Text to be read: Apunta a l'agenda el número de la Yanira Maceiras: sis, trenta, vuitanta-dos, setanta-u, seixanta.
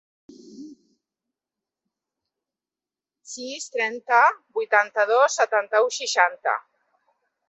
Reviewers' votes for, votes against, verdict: 1, 2, rejected